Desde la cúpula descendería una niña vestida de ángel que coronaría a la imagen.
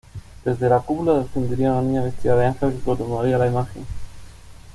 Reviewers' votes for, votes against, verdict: 2, 1, accepted